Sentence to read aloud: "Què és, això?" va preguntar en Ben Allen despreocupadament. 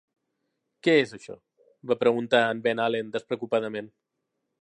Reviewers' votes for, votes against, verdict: 3, 0, accepted